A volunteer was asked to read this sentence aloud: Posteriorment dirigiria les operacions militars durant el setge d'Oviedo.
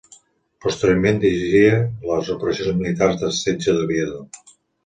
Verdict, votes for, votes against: rejected, 1, 2